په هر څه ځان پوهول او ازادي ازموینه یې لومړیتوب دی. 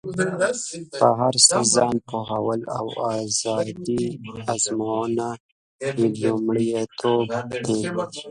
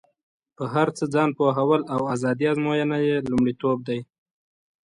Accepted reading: second